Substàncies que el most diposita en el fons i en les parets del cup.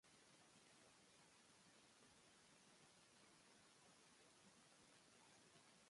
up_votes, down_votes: 0, 2